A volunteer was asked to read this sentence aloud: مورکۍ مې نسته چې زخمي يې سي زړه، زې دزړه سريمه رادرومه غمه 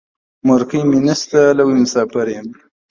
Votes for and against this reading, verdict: 0, 2, rejected